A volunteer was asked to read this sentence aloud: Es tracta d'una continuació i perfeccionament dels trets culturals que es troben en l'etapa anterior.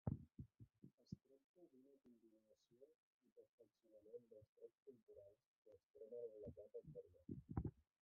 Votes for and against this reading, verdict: 0, 2, rejected